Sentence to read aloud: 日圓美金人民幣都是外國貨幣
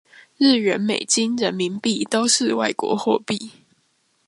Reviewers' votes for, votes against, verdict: 2, 0, accepted